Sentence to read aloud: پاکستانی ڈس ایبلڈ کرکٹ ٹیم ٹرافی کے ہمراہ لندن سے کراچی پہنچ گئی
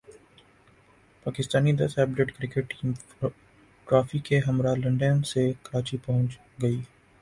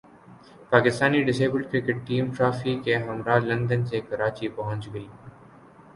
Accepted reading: second